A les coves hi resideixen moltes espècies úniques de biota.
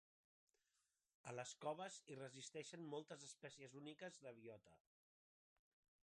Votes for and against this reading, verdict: 0, 3, rejected